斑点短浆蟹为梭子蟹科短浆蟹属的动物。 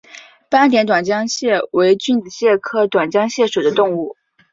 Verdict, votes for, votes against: rejected, 1, 2